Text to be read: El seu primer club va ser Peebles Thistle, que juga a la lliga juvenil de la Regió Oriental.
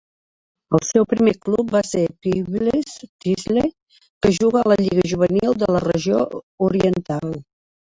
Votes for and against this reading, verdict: 2, 1, accepted